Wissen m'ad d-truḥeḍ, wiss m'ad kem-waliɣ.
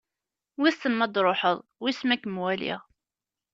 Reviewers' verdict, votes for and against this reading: accepted, 2, 0